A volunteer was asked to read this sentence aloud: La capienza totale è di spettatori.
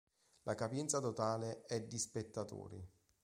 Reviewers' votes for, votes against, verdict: 1, 2, rejected